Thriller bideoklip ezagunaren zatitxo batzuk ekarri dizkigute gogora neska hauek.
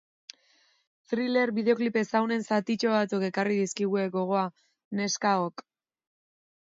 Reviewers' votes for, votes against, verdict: 2, 0, accepted